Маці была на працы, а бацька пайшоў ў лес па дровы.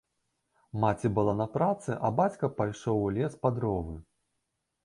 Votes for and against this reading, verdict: 2, 0, accepted